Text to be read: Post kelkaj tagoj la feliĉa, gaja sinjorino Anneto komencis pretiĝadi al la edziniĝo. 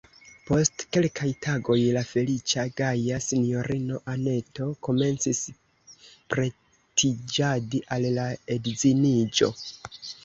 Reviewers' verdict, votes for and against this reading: rejected, 0, 2